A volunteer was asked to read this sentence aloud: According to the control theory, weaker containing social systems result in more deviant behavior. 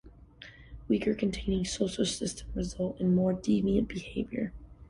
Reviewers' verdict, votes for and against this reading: rejected, 0, 2